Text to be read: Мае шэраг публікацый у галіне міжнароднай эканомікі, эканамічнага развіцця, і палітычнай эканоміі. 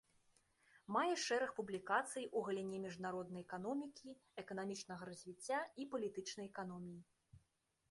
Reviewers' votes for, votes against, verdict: 2, 0, accepted